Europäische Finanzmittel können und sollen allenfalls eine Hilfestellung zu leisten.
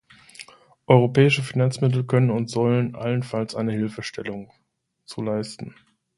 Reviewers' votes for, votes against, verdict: 2, 0, accepted